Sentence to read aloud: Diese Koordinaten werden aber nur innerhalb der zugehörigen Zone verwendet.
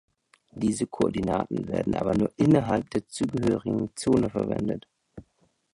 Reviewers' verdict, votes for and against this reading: accepted, 2, 0